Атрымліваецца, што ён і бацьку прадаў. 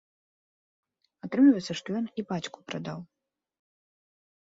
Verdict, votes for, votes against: accepted, 2, 0